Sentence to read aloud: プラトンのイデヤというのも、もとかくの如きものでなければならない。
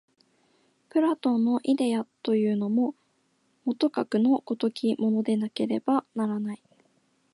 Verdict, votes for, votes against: accepted, 5, 0